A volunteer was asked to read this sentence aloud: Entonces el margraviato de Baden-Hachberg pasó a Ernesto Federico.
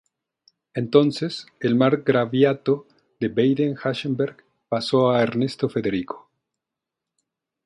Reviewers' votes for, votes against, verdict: 0, 2, rejected